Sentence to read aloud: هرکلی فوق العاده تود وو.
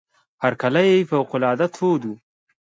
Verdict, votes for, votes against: accepted, 2, 0